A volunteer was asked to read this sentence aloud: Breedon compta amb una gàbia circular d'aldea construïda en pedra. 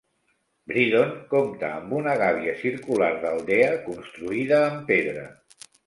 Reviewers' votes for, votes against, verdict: 2, 0, accepted